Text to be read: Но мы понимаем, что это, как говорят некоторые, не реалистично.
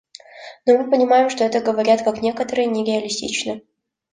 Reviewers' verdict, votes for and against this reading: rejected, 0, 2